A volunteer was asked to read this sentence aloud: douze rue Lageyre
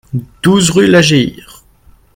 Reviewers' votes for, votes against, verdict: 1, 2, rejected